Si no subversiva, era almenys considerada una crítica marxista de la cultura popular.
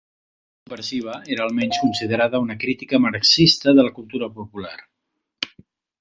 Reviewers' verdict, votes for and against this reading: rejected, 0, 2